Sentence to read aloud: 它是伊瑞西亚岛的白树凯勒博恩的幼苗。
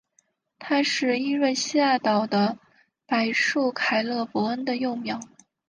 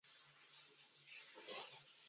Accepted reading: first